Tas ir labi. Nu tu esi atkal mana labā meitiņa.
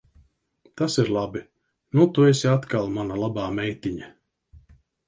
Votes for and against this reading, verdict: 2, 0, accepted